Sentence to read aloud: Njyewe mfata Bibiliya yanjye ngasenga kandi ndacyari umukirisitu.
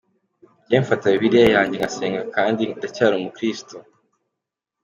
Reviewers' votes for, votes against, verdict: 2, 0, accepted